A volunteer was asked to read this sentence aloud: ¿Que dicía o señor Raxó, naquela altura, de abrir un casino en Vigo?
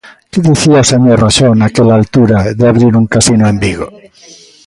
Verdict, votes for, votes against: accepted, 2, 0